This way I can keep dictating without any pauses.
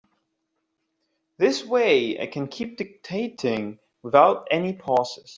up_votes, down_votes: 3, 0